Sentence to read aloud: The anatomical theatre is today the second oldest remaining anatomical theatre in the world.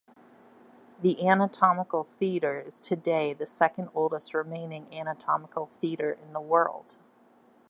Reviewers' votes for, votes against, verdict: 2, 0, accepted